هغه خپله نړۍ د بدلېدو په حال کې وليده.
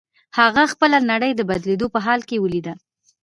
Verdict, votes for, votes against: accepted, 2, 1